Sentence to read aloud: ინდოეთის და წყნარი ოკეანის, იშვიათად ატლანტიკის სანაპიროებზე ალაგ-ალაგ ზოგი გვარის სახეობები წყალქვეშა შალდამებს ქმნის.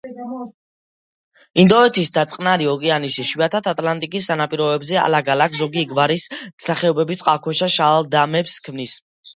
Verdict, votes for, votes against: accepted, 2, 1